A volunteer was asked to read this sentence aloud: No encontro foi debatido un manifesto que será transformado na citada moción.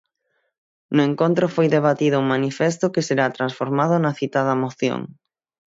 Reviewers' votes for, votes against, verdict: 6, 0, accepted